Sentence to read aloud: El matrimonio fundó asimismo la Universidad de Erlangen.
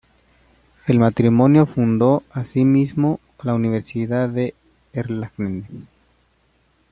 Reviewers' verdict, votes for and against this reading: rejected, 1, 2